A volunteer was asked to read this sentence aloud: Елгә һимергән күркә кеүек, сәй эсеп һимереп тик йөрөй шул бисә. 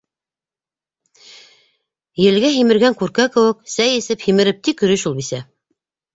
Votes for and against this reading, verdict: 2, 0, accepted